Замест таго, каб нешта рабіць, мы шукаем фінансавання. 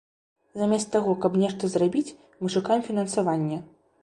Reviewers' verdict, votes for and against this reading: rejected, 0, 2